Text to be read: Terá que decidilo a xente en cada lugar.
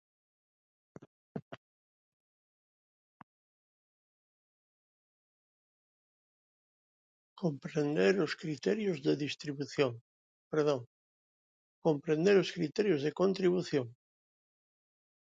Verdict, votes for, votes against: rejected, 0, 2